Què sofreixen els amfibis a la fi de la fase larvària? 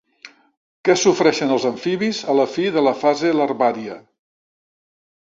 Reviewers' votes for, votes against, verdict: 2, 0, accepted